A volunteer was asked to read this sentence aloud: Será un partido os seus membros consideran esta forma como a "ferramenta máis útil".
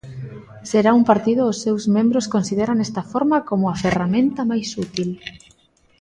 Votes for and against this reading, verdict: 2, 0, accepted